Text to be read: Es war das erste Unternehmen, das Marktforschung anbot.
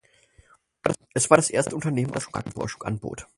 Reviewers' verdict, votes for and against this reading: rejected, 2, 4